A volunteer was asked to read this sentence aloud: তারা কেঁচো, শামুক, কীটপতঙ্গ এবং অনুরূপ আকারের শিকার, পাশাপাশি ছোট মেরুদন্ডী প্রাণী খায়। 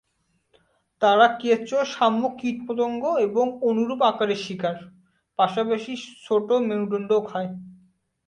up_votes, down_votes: 0, 2